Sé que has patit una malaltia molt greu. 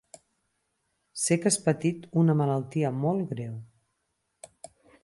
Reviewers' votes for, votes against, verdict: 6, 0, accepted